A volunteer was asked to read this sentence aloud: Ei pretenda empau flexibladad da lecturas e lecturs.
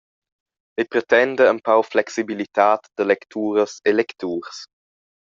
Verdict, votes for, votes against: rejected, 1, 2